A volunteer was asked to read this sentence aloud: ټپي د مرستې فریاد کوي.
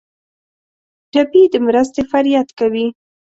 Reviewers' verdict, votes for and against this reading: accepted, 2, 0